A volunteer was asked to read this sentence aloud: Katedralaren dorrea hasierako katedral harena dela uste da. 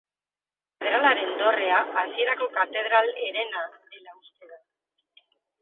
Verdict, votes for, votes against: rejected, 0, 2